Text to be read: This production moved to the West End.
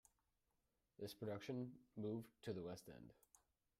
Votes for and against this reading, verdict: 2, 1, accepted